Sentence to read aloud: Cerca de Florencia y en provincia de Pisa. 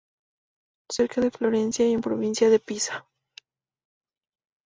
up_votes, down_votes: 4, 0